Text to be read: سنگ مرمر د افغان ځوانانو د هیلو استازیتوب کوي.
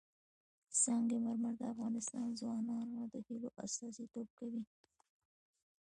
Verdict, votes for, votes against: rejected, 0, 2